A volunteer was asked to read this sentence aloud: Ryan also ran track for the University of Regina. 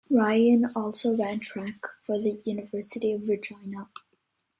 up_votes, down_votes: 2, 0